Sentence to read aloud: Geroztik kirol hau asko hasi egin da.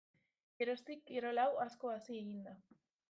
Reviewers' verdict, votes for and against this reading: accepted, 2, 0